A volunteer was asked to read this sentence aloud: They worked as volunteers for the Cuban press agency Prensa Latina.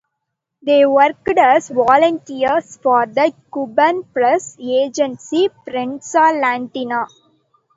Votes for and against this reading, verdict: 0, 2, rejected